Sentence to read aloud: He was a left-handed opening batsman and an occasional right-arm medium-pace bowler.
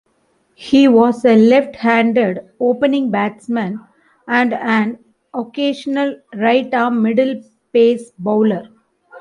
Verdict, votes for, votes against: rejected, 1, 2